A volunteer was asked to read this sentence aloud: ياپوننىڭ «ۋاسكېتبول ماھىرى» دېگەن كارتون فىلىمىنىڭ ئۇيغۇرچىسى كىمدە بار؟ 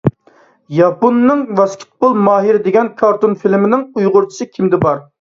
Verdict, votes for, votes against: accepted, 2, 0